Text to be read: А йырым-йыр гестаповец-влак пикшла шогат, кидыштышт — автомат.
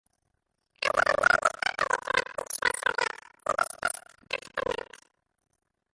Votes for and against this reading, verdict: 0, 2, rejected